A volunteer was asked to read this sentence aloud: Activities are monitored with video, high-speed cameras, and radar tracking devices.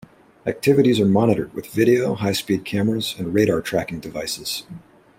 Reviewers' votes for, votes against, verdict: 2, 0, accepted